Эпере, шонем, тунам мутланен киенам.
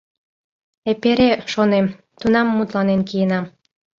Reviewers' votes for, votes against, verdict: 2, 0, accepted